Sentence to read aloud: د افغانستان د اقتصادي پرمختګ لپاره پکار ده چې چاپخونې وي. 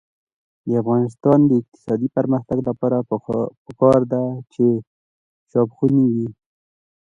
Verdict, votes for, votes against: rejected, 1, 2